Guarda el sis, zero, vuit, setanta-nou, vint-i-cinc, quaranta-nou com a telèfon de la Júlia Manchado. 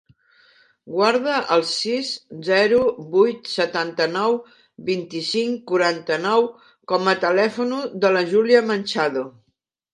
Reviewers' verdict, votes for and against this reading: rejected, 1, 2